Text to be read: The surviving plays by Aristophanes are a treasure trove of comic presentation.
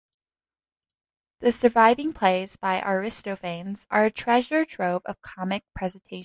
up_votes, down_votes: 0, 2